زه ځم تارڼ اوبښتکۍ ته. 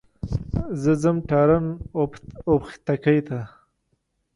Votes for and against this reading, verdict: 1, 2, rejected